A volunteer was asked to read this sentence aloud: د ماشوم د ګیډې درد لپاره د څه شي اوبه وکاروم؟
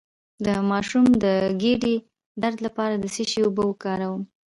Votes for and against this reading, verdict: 2, 0, accepted